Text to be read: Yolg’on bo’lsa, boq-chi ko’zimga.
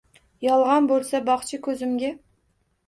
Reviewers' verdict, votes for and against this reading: accepted, 2, 0